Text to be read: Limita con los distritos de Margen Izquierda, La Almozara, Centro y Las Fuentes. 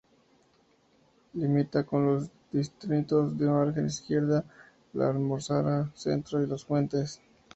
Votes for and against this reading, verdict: 2, 0, accepted